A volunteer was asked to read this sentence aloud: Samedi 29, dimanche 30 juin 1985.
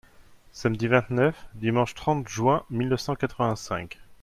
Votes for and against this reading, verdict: 0, 2, rejected